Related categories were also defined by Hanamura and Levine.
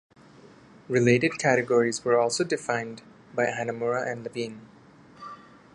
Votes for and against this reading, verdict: 2, 0, accepted